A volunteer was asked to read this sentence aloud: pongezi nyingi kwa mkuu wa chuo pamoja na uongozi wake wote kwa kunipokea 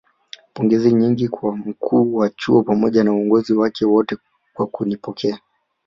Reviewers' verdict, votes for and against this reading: rejected, 1, 2